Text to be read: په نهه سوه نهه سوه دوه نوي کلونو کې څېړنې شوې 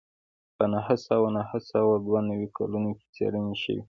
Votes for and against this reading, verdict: 2, 1, accepted